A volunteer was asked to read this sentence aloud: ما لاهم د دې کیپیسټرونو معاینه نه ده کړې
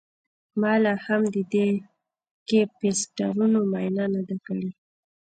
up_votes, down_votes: 1, 2